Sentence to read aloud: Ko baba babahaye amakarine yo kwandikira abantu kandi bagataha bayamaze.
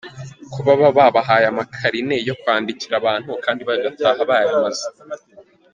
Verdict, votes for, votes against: accepted, 2, 0